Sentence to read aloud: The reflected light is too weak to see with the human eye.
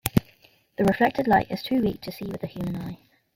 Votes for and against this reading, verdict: 2, 1, accepted